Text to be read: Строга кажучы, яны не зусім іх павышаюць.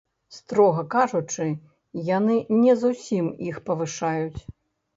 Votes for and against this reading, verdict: 0, 2, rejected